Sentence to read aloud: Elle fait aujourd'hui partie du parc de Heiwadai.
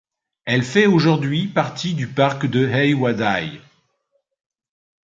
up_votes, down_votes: 1, 2